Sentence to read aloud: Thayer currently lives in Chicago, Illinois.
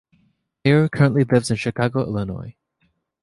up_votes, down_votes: 2, 0